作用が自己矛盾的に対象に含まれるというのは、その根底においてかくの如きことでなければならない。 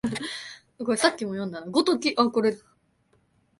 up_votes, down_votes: 0, 2